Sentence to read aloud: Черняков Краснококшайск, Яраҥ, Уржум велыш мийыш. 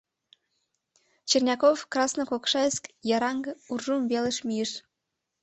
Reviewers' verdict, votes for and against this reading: rejected, 0, 2